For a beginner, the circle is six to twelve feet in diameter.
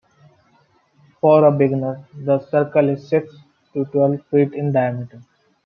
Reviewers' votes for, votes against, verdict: 2, 0, accepted